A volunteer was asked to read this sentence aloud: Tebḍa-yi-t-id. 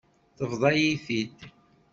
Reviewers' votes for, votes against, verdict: 2, 0, accepted